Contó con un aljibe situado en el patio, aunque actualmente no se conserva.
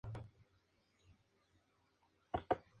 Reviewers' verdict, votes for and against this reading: rejected, 0, 2